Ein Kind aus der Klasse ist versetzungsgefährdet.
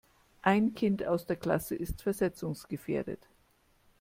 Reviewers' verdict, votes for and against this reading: accepted, 2, 0